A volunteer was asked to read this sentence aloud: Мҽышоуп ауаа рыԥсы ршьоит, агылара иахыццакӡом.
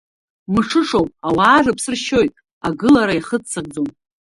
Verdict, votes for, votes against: accepted, 2, 0